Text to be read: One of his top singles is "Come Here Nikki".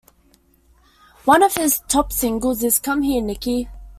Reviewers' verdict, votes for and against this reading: accepted, 2, 0